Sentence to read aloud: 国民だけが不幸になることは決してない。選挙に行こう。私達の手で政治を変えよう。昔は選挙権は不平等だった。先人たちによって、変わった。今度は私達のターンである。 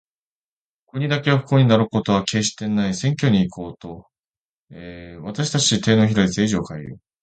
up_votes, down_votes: 0, 2